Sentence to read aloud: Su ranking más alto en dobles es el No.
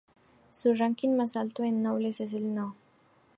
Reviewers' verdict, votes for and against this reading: accepted, 2, 0